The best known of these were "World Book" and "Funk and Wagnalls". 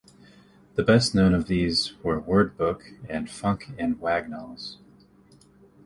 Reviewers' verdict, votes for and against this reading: rejected, 0, 2